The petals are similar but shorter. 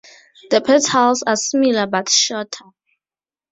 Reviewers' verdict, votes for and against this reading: rejected, 2, 2